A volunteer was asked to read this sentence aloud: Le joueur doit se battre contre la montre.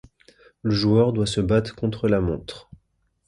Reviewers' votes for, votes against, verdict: 2, 0, accepted